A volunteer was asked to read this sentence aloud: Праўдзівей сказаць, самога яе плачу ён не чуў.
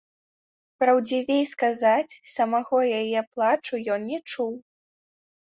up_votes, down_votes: 0, 2